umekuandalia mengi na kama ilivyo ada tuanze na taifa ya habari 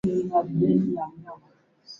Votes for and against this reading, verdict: 0, 4, rejected